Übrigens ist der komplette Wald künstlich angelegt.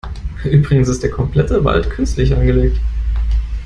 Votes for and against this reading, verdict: 2, 0, accepted